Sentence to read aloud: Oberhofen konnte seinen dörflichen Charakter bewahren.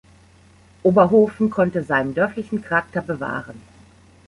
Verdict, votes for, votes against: rejected, 0, 2